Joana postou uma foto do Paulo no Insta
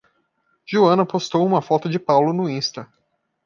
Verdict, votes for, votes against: rejected, 0, 2